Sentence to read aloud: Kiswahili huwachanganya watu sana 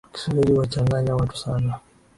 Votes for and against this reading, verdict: 0, 2, rejected